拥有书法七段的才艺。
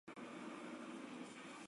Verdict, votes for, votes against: rejected, 0, 2